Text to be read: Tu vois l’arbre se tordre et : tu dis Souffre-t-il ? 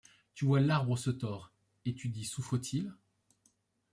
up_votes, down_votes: 1, 2